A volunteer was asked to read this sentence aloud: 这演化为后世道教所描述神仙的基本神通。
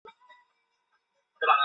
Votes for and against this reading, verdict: 0, 3, rejected